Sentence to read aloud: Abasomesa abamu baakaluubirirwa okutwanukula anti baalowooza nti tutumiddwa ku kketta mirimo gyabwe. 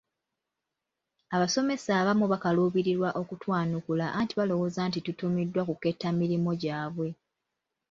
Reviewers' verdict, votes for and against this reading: rejected, 1, 2